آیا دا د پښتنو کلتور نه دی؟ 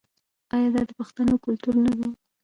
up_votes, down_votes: 1, 2